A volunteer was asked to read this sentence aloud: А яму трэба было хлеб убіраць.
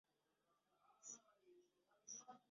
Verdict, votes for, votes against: rejected, 0, 3